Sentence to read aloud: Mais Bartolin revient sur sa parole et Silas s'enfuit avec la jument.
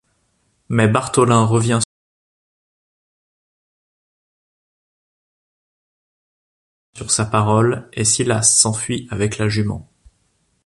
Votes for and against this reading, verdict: 0, 3, rejected